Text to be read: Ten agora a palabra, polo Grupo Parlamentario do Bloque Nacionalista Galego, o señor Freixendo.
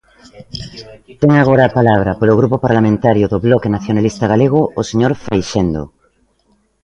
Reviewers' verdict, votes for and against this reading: accepted, 2, 1